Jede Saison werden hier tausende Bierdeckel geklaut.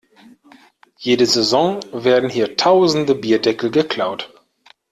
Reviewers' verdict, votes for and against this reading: accepted, 2, 0